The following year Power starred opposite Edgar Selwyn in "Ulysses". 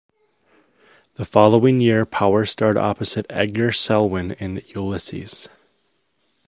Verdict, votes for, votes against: accepted, 2, 0